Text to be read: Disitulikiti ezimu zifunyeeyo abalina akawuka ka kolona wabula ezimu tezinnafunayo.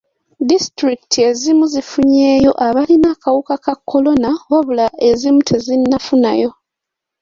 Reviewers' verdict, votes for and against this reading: accepted, 2, 0